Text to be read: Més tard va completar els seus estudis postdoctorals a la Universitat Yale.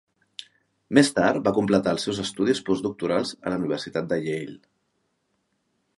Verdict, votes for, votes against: accepted, 2, 1